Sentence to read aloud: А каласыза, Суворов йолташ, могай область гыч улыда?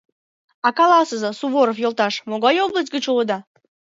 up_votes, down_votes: 2, 0